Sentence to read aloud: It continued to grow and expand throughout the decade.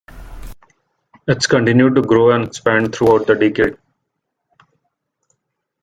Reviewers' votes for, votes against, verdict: 2, 0, accepted